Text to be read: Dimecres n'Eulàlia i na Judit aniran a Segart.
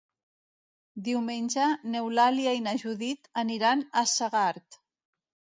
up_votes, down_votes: 0, 2